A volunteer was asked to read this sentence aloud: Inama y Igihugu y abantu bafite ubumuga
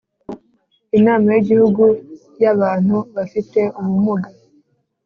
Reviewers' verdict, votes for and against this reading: rejected, 1, 2